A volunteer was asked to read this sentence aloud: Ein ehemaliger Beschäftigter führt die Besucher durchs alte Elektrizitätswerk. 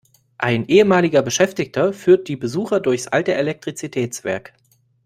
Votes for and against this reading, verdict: 2, 0, accepted